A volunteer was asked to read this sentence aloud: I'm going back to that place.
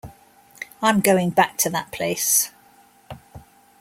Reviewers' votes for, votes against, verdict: 2, 0, accepted